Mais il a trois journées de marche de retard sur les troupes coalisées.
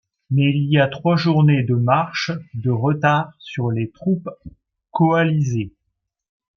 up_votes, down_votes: 1, 2